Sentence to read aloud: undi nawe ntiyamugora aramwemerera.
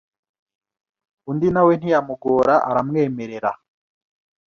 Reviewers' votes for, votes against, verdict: 2, 0, accepted